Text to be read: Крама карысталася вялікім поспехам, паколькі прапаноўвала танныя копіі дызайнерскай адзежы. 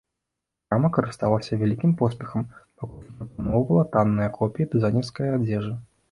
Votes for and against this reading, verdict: 0, 2, rejected